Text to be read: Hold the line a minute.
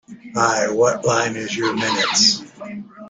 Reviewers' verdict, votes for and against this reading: rejected, 0, 2